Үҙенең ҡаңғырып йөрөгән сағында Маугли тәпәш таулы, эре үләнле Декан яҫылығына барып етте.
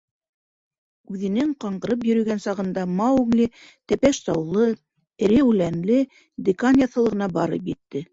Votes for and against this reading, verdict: 2, 0, accepted